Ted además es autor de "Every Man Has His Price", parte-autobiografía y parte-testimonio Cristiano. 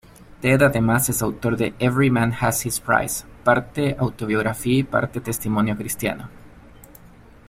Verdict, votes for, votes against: accepted, 2, 0